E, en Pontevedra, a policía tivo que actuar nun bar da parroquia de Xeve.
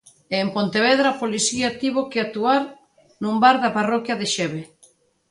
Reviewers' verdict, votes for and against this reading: accepted, 2, 0